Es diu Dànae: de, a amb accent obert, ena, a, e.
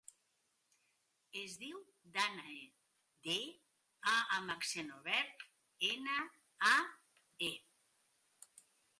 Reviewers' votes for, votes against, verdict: 2, 1, accepted